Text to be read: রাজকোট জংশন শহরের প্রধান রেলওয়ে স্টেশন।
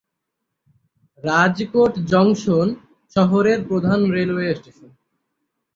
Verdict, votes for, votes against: rejected, 3, 6